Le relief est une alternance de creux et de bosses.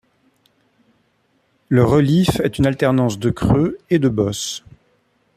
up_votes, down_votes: 0, 2